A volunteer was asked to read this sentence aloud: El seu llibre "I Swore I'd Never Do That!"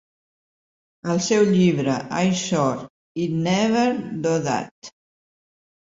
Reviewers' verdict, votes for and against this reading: rejected, 1, 2